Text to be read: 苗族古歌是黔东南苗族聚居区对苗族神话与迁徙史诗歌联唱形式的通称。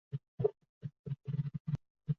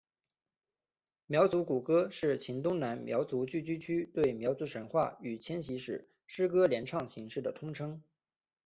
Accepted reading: second